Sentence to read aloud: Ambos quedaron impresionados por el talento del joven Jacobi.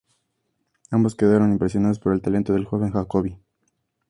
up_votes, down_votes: 2, 0